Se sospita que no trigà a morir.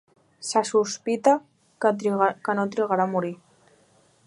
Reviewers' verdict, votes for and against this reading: rejected, 1, 2